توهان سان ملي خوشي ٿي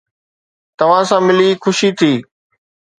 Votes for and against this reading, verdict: 2, 0, accepted